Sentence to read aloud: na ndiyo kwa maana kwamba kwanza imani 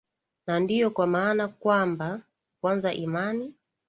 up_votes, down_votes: 3, 0